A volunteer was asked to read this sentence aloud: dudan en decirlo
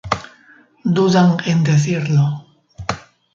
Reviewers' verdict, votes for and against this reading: accepted, 2, 0